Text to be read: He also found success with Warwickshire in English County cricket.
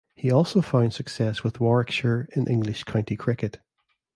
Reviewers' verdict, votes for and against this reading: accepted, 2, 0